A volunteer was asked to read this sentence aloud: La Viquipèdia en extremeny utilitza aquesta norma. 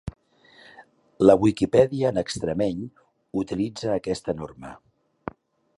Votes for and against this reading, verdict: 0, 2, rejected